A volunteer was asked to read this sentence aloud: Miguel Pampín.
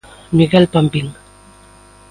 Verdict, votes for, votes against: accepted, 2, 0